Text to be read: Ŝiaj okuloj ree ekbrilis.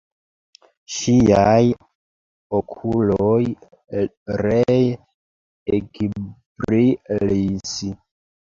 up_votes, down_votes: 0, 2